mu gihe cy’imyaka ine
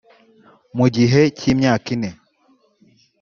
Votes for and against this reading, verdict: 1, 2, rejected